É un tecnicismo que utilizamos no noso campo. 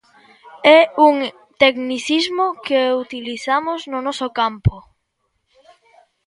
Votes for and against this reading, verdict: 1, 2, rejected